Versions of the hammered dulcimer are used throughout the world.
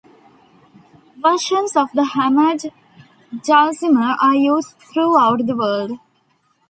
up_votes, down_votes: 2, 0